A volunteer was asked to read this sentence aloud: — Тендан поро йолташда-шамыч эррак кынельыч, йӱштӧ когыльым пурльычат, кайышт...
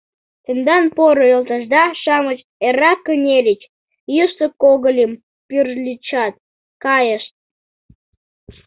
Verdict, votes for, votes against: rejected, 0, 2